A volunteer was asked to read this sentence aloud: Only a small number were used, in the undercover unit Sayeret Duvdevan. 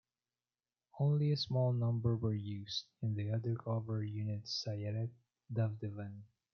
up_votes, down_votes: 2, 0